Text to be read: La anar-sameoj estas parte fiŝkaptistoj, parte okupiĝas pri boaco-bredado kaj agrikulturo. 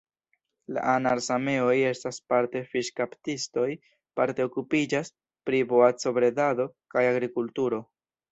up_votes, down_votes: 1, 2